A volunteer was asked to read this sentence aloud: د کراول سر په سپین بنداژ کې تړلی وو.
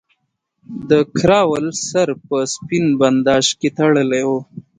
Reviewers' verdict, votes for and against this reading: accepted, 2, 0